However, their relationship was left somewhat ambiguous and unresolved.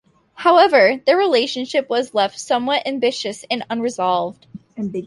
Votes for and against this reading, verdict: 0, 2, rejected